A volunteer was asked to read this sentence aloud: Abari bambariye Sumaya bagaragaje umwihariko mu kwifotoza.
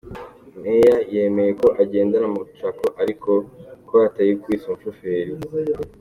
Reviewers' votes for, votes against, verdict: 0, 2, rejected